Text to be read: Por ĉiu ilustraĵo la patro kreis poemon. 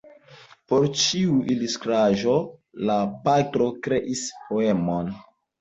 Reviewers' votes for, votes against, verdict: 1, 2, rejected